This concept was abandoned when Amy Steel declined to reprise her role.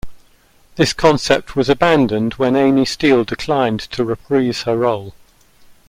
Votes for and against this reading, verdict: 2, 0, accepted